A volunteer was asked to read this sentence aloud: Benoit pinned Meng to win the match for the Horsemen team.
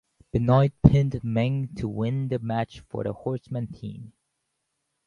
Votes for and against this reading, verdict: 2, 0, accepted